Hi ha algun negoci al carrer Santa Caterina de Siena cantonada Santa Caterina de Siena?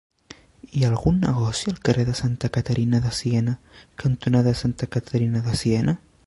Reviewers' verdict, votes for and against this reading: rejected, 3, 4